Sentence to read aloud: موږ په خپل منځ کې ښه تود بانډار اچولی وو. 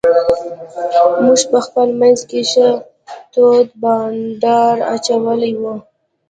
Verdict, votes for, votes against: rejected, 1, 2